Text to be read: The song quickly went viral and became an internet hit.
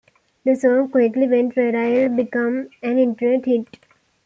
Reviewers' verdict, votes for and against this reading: rejected, 0, 2